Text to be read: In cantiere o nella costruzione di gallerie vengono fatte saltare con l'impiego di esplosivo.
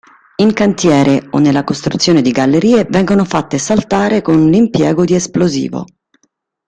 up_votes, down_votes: 2, 0